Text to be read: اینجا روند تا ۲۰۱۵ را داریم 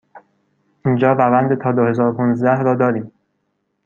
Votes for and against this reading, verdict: 0, 2, rejected